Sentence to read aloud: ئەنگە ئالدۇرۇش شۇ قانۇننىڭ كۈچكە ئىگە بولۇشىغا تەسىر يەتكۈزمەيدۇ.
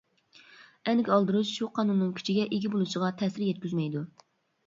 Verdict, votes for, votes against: rejected, 0, 2